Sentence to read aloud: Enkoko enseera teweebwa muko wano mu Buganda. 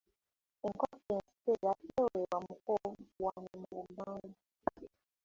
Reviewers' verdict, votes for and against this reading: accepted, 2, 1